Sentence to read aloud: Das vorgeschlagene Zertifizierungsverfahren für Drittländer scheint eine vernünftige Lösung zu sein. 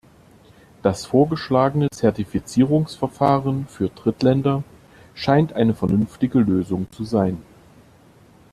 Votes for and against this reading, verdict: 2, 0, accepted